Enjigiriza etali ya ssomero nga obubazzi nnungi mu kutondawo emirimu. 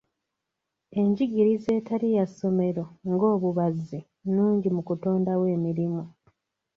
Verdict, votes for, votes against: accepted, 2, 0